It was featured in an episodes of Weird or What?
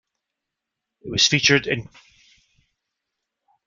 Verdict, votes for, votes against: rejected, 0, 2